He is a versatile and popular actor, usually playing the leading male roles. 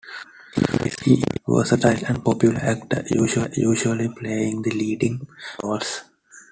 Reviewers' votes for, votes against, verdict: 0, 2, rejected